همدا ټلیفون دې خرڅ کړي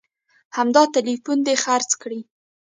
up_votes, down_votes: 2, 1